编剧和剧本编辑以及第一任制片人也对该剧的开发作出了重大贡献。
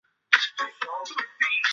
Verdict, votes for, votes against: rejected, 0, 2